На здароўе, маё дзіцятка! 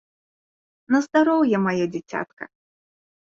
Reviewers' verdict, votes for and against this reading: accepted, 2, 0